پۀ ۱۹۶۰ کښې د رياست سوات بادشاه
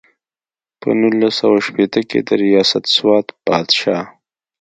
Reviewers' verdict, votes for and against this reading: rejected, 0, 2